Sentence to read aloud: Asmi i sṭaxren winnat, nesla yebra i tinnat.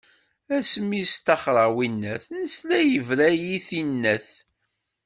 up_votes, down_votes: 1, 2